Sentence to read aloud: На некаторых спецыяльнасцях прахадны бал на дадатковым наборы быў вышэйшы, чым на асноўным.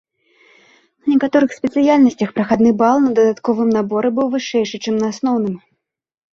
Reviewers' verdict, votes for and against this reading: rejected, 1, 2